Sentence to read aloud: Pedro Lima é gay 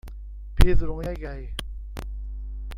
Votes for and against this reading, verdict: 1, 2, rejected